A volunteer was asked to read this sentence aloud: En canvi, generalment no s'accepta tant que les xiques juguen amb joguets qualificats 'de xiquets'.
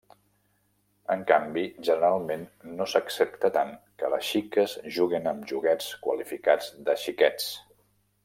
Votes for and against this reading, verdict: 1, 2, rejected